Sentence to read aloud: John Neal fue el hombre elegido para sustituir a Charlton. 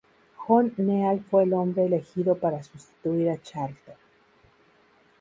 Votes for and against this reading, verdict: 0, 2, rejected